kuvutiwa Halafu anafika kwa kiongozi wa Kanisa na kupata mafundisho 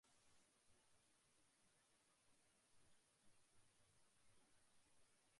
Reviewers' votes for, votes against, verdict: 1, 2, rejected